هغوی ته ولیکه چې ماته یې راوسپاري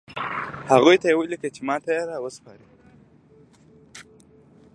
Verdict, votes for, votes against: rejected, 1, 2